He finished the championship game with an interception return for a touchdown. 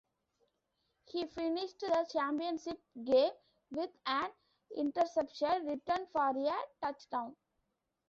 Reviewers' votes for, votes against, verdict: 0, 2, rejected